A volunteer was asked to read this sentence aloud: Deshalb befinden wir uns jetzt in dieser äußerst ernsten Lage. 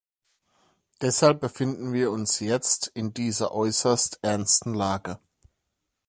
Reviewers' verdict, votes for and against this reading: accepted, 2, 0